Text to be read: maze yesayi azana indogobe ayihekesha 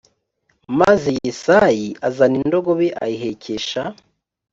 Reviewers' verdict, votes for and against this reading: accepted, 3, 0